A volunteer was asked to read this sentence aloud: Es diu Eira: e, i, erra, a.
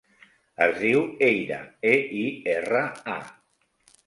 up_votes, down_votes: 2, 0